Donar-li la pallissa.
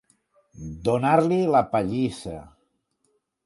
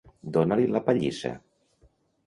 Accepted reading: first